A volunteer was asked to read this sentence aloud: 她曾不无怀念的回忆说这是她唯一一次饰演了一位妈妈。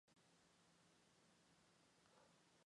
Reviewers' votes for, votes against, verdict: 1, 2, rejected